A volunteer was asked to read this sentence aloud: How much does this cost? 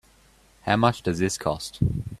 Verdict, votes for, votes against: accepted, 2, 0